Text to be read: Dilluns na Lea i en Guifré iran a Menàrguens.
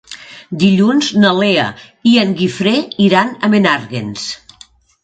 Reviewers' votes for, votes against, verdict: 3, 0, accepted